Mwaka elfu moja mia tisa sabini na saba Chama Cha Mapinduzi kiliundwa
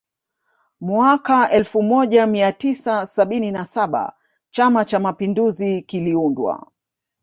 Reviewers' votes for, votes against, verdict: 2, 0, accepted